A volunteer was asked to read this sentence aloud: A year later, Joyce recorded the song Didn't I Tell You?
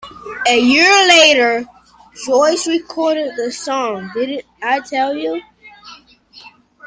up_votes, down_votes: 0, 2